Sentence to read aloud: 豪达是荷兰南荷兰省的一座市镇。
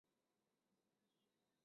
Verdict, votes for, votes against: accepted, 2, 0